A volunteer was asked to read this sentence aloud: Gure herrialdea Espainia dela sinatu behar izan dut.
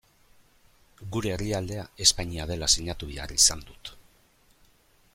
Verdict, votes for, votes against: accepted, 2, 0